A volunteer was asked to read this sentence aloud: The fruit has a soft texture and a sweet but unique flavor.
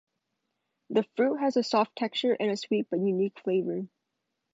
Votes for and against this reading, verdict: 2, 0, accepted